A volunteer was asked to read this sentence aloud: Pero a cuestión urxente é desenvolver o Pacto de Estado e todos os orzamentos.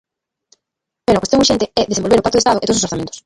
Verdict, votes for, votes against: rejected, 0, 2